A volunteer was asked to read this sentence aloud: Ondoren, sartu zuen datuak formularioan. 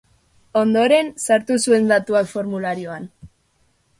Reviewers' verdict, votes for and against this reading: accepted, 3, 0